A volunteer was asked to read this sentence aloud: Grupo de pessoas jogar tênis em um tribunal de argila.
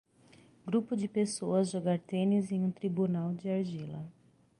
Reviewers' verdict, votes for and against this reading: accepted, 6, 0